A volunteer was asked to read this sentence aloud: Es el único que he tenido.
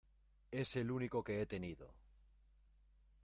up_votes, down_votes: 2, 0